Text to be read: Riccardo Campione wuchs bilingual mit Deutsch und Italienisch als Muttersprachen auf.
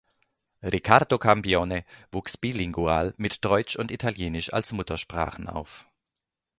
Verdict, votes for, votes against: accepted, 2, 0